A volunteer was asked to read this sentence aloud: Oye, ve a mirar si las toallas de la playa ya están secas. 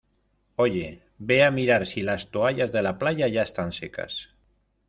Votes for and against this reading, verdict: 2, 0, accepted